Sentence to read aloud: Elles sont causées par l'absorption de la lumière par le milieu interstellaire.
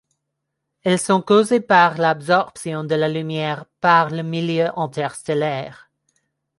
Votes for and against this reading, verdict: 0, 2, rejected